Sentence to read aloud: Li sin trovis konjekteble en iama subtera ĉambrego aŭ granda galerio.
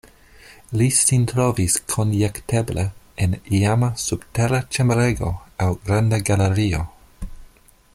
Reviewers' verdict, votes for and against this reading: accepted, 2, 0